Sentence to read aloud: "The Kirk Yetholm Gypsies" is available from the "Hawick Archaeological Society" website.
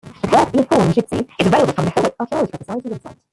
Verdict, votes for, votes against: rejected, 0, 2